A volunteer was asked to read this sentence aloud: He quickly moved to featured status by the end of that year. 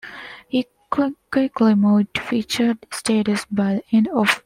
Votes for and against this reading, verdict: 1, 2, rejected